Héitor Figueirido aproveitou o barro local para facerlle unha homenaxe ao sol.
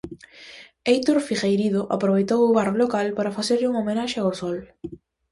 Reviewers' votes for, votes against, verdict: 2, 0, accepted